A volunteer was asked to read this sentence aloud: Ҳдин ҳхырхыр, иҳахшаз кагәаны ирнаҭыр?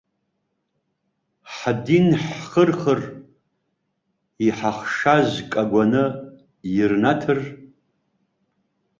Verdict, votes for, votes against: rejected, 1, 2